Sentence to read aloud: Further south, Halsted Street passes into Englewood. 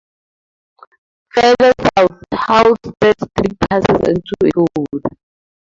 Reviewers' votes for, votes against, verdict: 0, 2, rejected